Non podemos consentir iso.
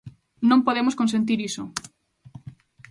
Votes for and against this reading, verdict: 2, 0, accepted